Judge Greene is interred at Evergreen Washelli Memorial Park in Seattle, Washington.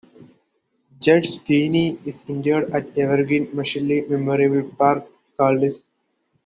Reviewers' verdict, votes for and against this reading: rejected, 0, 2